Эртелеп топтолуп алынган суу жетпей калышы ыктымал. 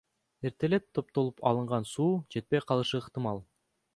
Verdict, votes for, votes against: accepted, 2, 0